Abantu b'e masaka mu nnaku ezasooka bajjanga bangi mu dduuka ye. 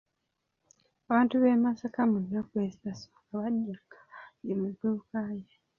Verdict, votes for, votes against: rejected, 0, 2